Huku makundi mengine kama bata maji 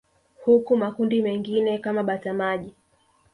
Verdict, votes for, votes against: accepted, 2, 0